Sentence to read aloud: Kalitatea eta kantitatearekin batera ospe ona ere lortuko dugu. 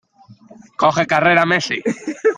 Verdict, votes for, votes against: rejected, 0, 2